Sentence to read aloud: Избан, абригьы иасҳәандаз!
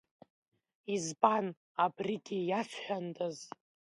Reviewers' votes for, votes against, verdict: 2, 0, accepted